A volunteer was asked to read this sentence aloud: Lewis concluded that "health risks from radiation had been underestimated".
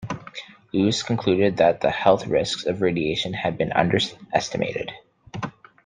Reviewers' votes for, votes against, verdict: 1, 2, rejected